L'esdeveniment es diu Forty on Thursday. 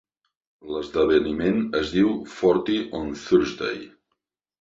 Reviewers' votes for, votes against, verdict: 3, 0, accepted